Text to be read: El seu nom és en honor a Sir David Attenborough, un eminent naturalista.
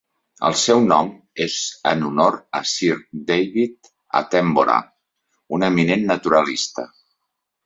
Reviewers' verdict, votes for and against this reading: rejected, 1, 2